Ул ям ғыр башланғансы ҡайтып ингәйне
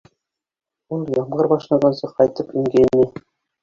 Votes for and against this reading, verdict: 0, 2, rejected